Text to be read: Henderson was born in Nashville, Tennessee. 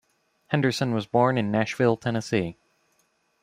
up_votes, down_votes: 3, 0